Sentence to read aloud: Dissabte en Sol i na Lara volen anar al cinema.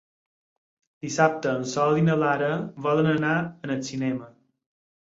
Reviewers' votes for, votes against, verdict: 2, 4, rejected